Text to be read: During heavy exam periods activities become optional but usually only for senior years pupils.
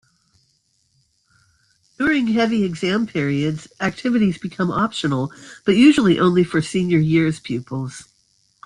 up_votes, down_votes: 2, 1